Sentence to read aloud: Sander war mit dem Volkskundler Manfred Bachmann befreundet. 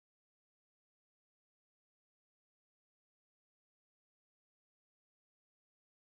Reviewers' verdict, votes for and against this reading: rejected, 0, 2